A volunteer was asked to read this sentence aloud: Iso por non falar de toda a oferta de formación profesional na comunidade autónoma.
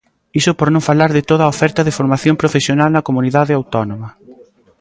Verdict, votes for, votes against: accepted, 3, 0